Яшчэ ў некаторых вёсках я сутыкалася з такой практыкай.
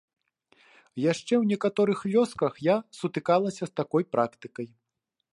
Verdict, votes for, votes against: accepted, 2, 0